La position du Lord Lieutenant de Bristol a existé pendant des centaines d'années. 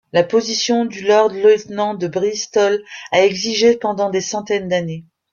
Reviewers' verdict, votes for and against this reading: rejected, 0, 2